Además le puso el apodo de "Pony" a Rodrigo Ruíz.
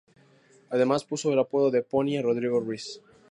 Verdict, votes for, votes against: rejected, 0, 2